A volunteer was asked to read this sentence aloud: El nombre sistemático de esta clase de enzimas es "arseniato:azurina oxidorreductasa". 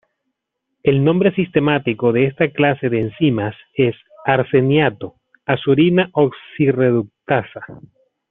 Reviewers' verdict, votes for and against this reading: rejected, 1, 2